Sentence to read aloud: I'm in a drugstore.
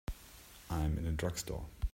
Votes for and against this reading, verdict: 1, 2, rejected